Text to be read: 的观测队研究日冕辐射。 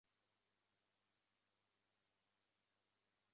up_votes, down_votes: 0, 2